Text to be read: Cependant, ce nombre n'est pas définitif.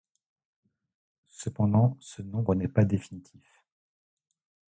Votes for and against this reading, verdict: 2, 0, accepted